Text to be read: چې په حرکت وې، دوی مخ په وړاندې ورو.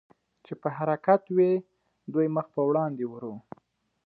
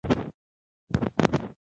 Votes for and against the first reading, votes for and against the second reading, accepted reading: 2, 0, 0, 2, first